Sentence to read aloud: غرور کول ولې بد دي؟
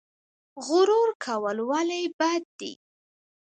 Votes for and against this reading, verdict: 2, 1, accepted